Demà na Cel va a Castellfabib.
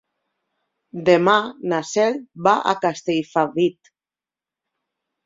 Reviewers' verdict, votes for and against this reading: accepted, 2, 0